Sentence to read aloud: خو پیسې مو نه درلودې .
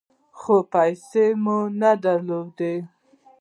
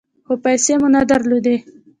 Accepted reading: first